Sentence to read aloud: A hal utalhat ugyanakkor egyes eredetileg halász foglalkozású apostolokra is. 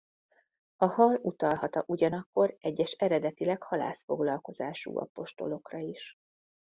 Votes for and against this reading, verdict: 0, 2, rejected